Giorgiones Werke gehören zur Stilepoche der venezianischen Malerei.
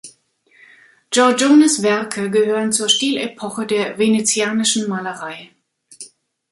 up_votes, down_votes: 2, 0